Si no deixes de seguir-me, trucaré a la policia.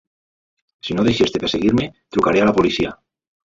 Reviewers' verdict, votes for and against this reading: rejected, 1, 2